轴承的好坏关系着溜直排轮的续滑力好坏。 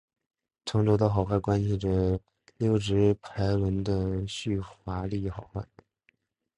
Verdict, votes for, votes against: accepted, 2, 0